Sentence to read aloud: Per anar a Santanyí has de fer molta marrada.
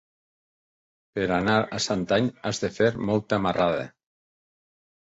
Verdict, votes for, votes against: rejected, 0, 2